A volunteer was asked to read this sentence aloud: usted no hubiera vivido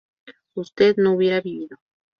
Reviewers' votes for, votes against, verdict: 0, 2, rejected